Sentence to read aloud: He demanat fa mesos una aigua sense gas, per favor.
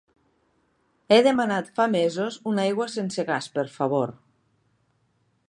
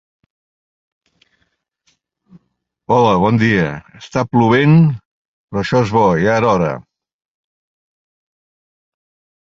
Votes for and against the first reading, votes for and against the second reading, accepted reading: 3, 1, 0, 2, first